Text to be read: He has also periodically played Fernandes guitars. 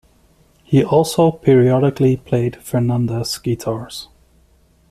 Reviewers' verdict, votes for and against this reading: rejected, 0, 2